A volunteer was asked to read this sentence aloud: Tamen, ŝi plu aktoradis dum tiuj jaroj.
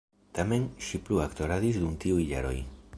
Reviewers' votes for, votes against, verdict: 2, 0, accepted